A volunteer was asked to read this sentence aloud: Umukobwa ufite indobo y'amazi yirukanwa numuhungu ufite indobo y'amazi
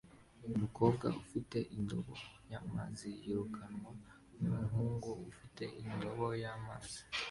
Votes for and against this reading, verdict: 2, 1, accepted